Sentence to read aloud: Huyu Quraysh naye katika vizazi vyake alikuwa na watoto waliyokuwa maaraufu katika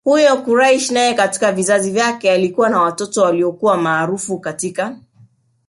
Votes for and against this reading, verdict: 3, 0, accepted